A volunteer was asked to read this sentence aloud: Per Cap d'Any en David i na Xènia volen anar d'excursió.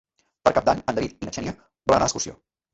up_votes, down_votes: 0, 2